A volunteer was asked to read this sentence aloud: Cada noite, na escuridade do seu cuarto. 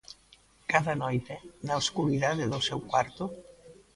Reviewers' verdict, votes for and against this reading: accepted, 2, 1